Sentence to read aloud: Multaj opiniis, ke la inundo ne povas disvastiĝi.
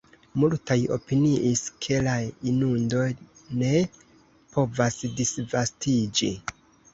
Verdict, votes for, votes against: rejected, 1, 2